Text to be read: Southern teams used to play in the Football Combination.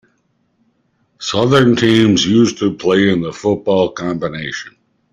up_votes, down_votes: 2, 0